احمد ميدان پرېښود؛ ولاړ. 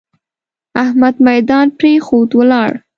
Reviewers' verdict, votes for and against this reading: accepted, 2, 0